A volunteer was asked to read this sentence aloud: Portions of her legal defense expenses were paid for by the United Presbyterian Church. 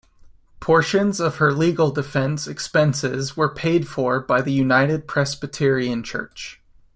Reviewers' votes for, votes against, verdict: 2, 0, accepted